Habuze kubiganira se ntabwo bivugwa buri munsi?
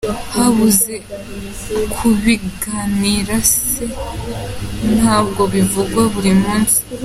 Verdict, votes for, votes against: rejected, 1, 2